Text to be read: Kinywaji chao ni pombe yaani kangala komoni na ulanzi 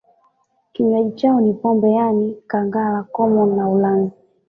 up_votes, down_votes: 2, 1